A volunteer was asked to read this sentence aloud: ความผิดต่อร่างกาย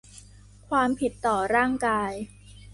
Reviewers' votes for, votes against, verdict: 2, 0, accepted